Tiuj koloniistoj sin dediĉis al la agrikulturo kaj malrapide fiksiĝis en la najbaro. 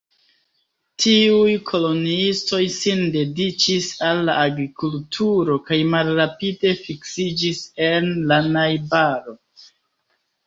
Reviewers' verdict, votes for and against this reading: rejected, 1, 2